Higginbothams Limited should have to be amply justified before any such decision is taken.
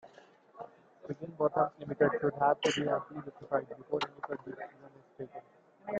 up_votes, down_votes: 0, 2